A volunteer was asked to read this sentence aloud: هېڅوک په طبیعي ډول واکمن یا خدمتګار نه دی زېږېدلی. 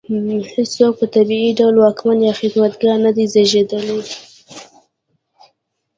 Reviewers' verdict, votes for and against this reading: rejected, 0, 2